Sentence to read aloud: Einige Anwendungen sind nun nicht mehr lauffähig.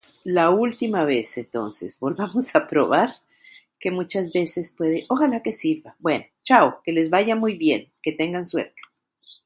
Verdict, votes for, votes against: rejected, 1, 2